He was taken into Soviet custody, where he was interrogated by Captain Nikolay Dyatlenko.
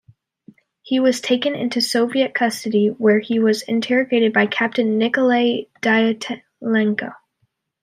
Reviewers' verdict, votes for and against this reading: rejected, 1, 2